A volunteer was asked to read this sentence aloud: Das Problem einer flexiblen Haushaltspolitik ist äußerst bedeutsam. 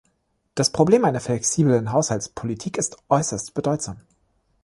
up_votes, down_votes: 2, 0